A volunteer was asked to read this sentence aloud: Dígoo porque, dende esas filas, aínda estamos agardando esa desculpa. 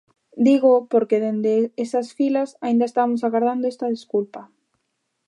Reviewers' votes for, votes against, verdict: 0, 2, rejected